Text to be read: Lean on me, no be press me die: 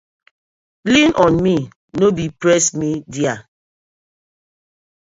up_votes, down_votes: 0, 2